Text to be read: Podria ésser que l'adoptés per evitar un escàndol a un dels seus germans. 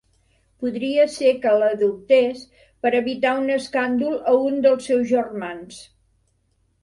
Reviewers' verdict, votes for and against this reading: accepted, 2, 0